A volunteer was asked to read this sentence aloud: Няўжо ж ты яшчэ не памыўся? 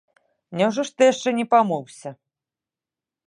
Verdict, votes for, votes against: accepted, 2, 0